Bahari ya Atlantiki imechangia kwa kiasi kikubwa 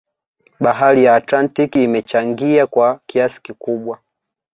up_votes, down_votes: 2, 0